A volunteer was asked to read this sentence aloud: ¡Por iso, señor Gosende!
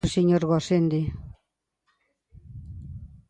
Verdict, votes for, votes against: rejected, 0, 2